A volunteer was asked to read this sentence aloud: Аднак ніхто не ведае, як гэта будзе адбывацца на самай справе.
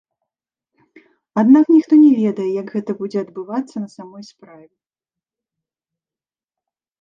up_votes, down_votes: 1, 2